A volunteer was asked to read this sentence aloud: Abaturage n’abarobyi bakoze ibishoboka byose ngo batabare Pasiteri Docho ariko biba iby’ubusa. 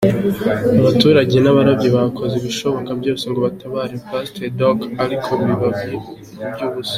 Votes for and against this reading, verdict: 2, 0, accepted